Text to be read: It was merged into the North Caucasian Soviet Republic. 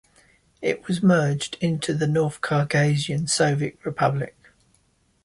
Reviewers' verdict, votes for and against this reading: accepted, 2, 0